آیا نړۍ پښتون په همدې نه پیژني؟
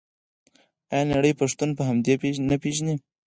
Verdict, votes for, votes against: rejected, 2, 4